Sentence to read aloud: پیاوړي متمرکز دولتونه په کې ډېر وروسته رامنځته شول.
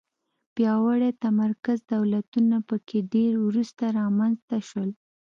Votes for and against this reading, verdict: 2, 0, accepted